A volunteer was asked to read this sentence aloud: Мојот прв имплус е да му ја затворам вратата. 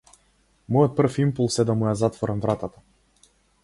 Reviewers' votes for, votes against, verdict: 0, 2, rejected